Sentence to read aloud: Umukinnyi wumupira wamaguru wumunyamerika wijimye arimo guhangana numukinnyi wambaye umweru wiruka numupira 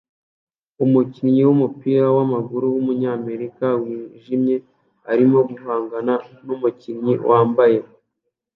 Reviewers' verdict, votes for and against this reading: rejected, 1, 2